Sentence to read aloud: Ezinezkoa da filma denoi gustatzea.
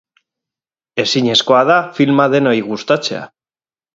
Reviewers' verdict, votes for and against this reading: rejected, 2, 2